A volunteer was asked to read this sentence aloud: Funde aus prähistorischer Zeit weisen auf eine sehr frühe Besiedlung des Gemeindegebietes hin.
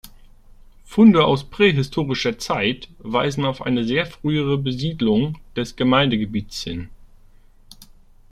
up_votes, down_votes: 1, 2